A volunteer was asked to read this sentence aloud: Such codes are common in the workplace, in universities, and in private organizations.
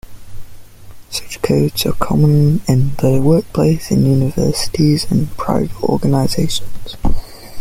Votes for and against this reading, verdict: 2, 1, accepted